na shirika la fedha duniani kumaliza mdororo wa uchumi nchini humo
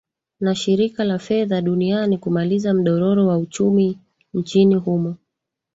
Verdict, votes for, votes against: accepted, 3, 1